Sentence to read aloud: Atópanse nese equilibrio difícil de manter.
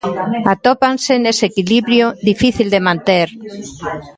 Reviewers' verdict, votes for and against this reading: rejected, 0, 2